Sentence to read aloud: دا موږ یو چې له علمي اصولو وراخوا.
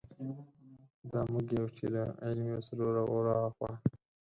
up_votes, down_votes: 2, 4